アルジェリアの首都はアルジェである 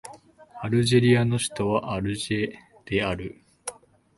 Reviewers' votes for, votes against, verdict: 2, 0, accepted